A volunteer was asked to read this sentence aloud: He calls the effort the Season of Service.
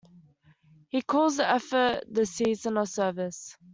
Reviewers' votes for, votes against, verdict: 2, 0, accepted